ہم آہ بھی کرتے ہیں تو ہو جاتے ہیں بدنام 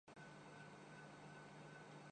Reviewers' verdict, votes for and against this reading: rejected, 0, 2